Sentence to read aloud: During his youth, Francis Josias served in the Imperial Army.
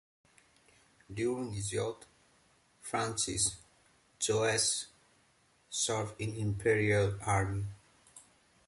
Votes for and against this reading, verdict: 1, 2, rejected